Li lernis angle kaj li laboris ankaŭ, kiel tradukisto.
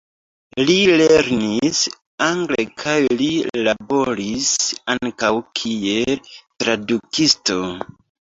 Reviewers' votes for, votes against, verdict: 0, 2, rejected